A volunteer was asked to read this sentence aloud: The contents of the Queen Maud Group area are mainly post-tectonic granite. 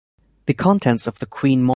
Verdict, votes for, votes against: rejected, 0, 2